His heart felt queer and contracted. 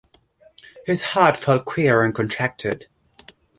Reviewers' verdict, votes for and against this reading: accepted, 2, 0